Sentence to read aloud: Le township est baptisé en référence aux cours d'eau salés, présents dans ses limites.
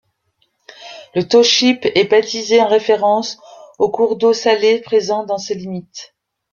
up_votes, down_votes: 1, 2